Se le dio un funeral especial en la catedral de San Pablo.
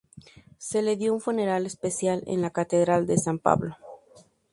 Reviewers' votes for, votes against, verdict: 2, 0, accepted